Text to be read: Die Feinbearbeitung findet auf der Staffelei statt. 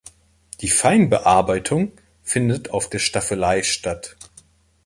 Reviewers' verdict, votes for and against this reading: accepted, 2, 0